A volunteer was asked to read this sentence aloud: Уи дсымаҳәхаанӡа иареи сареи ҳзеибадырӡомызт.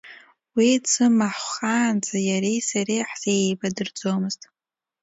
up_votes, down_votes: 2, 0